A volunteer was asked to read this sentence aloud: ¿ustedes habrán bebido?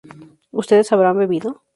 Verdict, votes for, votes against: accepted, 2, 0